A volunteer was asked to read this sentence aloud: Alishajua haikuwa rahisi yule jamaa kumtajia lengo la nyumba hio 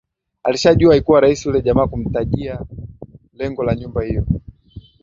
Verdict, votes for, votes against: rejected, 0, 2